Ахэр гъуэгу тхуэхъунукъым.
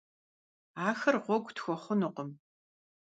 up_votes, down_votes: 2, 0